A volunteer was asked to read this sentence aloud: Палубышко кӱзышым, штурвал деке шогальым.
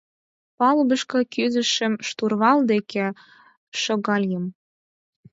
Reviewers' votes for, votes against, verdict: 4, 0, accepted